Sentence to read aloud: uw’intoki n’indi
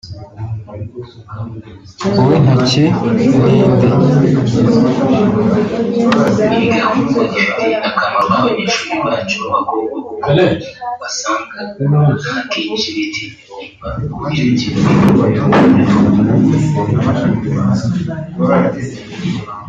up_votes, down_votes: 0, 3